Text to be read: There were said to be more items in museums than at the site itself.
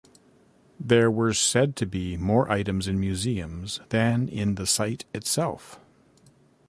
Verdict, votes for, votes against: rejected, 1, 2